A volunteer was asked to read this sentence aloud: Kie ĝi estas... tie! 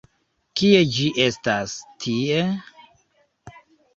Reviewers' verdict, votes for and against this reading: accepted, 2, 1